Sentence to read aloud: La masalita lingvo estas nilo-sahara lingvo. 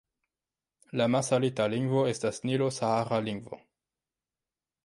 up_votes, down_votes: 0, 2